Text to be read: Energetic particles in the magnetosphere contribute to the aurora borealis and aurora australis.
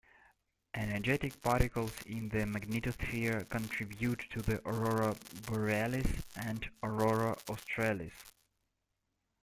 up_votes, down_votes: 2, 1